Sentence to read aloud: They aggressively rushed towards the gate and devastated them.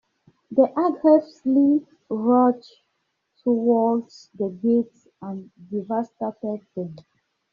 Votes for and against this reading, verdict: 2, 0, accepted